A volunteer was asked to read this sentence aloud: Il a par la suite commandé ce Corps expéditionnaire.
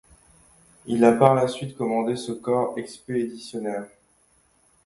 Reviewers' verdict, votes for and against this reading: accepted, 2, 0